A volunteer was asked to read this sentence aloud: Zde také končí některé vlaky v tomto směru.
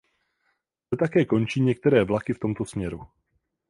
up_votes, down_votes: 0, 4